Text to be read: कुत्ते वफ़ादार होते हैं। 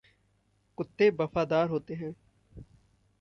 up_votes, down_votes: 2, 0